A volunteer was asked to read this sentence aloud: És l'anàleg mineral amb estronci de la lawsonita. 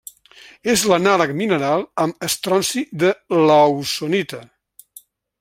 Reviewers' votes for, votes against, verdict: 0, 2, rejected